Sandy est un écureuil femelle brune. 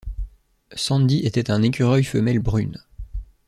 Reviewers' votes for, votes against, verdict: 2, 1, accepted